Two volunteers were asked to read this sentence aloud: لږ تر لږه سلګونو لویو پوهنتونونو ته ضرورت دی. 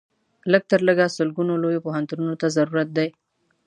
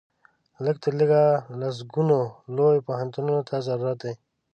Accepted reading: first